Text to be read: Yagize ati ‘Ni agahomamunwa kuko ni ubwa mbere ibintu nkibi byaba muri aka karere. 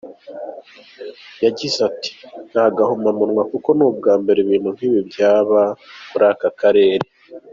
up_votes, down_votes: 2, 0